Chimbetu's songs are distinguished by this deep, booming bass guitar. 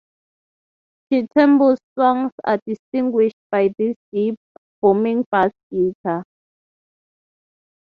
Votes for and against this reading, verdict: 3, 0, accepted